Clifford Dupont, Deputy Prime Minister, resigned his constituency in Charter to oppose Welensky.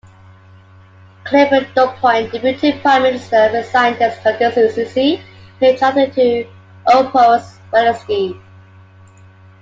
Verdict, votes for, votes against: accepted, 2, 1